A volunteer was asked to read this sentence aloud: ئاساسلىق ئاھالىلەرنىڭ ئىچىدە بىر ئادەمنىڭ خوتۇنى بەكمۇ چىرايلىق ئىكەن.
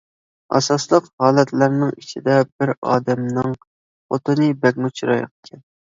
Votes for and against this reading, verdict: 0, 2, rejected